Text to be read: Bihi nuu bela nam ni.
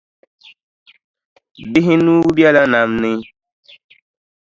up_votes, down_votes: 2, 0